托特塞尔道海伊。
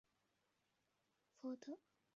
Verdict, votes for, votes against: rejected, 1, 2